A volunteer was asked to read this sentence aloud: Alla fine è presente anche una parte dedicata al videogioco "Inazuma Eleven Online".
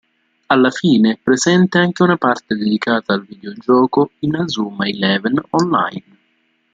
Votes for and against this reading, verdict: 2, 0, accepted